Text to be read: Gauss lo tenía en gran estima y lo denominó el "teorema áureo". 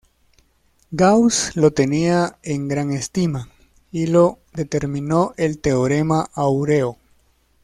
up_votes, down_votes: 1, 2